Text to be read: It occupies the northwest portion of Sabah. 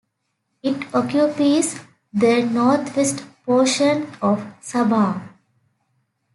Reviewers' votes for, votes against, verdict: 2, 1, accepted